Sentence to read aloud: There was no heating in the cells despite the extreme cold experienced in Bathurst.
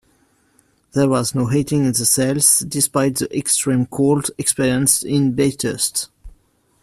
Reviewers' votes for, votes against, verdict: 1, 2, rejected